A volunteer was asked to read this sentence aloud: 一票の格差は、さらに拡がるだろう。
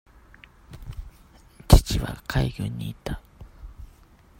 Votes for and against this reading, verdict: 0, 2, rejected